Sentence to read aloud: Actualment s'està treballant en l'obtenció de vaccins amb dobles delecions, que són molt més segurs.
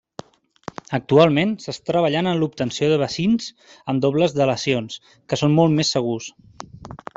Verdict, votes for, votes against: rejected, 0, 2